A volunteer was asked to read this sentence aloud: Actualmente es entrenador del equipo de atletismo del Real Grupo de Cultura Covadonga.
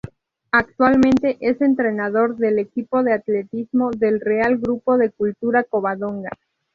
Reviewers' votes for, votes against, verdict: 2, 0, accepted